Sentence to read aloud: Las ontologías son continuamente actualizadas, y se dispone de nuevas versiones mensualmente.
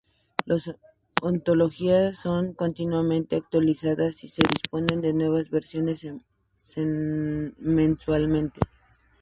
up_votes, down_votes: 0, 2